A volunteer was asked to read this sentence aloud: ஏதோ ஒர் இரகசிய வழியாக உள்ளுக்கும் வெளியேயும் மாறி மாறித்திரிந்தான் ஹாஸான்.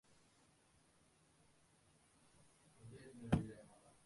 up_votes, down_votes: 0, 2